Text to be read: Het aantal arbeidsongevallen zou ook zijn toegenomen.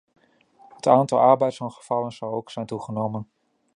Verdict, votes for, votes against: accepted, 2, 0